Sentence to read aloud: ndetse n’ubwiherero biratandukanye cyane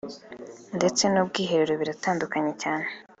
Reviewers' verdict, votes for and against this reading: accepted, 2, 1